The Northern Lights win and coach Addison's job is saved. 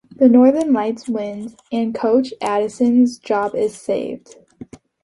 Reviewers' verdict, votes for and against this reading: accepted, 2, 0